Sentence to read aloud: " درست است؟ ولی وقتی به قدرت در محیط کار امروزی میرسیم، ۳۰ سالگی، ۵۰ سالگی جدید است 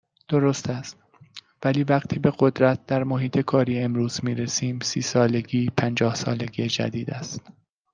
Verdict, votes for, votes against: rejected, 0, 2